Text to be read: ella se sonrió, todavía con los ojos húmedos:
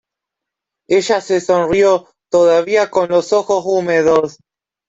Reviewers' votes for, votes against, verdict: 1, 2, rejected